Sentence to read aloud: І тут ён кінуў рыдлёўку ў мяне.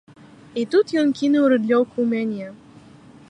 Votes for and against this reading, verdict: 2, 0, accepted